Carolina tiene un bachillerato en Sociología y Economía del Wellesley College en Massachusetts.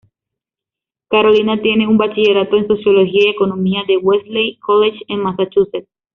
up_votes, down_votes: 2, 0